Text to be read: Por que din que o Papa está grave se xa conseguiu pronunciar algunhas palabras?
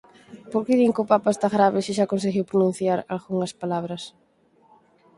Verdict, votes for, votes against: accepted, 6, 0